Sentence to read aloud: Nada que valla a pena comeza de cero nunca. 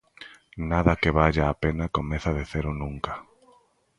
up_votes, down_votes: 2, 0